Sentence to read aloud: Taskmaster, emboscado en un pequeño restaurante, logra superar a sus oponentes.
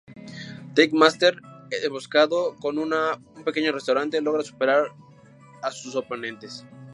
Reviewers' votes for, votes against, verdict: 0, 4, rejected